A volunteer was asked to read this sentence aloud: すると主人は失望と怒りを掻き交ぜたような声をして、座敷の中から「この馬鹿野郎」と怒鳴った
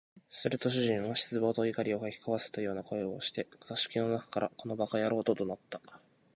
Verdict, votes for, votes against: accepted, 2, 0